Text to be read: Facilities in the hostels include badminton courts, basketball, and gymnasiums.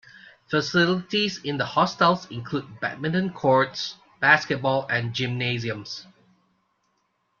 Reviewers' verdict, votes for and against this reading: accepted, 2, 0